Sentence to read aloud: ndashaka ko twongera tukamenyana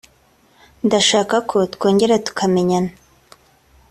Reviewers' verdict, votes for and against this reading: accepted, 2, 0